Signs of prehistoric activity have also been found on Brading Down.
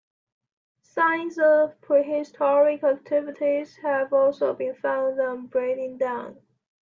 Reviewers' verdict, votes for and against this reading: rejected, 1, 2